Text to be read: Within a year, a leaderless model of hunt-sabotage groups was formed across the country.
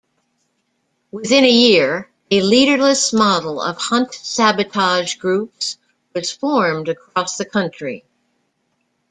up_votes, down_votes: 2, 0